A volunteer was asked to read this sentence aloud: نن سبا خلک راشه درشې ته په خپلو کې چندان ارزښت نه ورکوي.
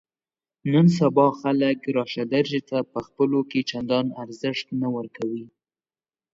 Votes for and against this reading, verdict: 2, 0, accepted